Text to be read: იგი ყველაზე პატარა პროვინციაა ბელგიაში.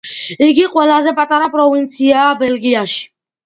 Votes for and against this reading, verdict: 2, 1, accepted